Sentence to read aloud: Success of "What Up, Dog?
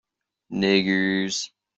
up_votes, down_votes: 0, 2